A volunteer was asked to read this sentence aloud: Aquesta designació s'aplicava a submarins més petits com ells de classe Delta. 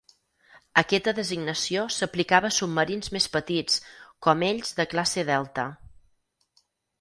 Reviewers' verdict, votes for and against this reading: accepted, 4, 0